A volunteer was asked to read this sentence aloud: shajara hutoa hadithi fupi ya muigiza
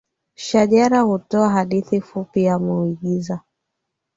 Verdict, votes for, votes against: accepted, 2, 0